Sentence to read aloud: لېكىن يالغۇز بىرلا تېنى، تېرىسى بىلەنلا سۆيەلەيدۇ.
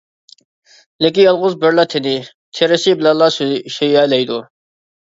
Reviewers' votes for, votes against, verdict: 0, 2, rejected